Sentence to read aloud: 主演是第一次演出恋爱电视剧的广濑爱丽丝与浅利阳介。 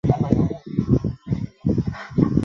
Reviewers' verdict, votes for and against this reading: rejected, 1, 2